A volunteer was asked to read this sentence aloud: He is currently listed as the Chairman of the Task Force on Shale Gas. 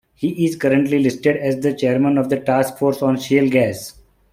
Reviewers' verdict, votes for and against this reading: rejected, 0, 2